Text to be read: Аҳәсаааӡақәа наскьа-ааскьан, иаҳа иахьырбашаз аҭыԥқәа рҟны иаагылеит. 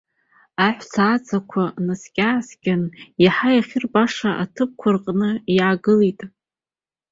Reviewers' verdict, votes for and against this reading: accepted, 2, 0